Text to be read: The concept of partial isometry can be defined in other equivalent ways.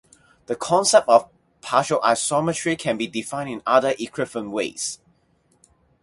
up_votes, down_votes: 4, 0